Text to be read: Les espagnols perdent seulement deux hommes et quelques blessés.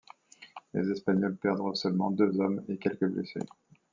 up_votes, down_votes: 2, 0